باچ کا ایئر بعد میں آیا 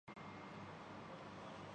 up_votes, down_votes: 0, 4